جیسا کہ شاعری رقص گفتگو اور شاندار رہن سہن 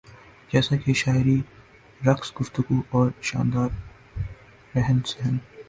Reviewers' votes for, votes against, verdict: 1, 2, rejected